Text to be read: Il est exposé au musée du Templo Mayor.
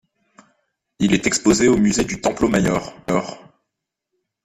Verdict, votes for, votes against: rejected, 0, 2